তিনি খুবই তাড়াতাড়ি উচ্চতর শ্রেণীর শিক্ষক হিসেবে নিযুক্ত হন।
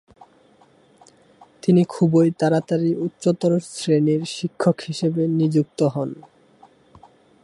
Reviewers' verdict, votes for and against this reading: accepted, 3, 2